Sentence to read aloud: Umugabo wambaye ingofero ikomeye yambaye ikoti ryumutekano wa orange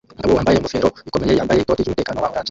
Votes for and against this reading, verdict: 0, 2, rejected